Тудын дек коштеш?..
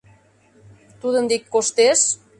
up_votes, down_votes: 2, 0